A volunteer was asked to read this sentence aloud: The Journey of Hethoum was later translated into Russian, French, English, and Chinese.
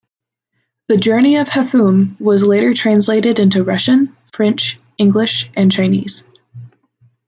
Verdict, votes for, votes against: accepted, 2, 0